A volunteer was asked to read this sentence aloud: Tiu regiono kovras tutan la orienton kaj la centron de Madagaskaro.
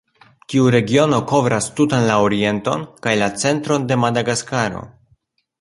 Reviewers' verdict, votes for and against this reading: accepted, 2, 0